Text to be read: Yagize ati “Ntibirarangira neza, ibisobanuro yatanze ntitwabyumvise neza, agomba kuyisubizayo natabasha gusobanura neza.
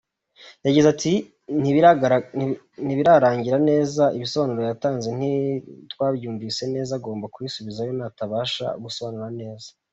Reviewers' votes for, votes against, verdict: 1, 2, rejected